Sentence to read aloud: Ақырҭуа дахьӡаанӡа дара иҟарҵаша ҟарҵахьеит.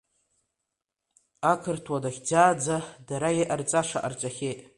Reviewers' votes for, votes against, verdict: 2, 0, accepted